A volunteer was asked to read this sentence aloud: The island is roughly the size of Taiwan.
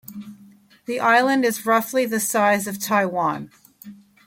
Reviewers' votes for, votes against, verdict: 2, 0, accepted